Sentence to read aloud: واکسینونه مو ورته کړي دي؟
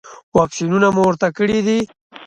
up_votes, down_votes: 2, 0